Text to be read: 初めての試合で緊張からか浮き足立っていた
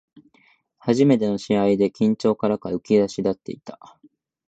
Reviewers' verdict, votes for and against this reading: accepted, 2, 0